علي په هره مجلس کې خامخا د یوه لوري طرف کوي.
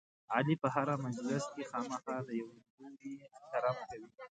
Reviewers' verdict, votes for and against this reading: rejected, 1, 2